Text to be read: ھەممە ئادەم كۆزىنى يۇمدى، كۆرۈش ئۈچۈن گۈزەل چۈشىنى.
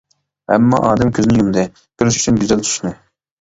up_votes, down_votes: 1, 2